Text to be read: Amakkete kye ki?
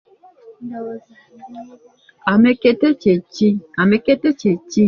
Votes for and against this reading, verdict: 0, 2, rejected